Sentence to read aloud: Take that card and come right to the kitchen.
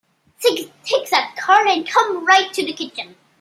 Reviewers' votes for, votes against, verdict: 0, 2, rejected